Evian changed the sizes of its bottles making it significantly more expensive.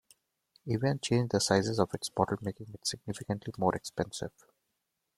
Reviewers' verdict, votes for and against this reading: rejected, 1, 2